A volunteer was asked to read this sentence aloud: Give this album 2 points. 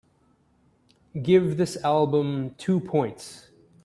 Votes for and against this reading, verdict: 0, 2, rejected